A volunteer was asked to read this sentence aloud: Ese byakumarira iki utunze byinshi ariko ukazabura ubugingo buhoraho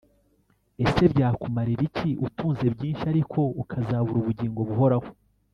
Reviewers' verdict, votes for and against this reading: rejected, 1, 2